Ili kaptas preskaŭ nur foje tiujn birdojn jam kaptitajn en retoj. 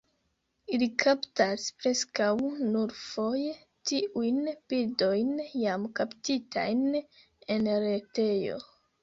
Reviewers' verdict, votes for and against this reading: rejected, 1, 2